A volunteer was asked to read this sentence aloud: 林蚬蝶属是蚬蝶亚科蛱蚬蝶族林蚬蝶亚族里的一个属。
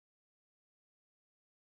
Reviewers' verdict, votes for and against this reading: rejected, 1, 6